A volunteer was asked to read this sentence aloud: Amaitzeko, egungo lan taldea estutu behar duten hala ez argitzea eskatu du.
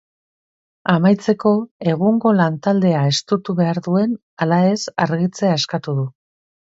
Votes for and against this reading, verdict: 1, 2, rejected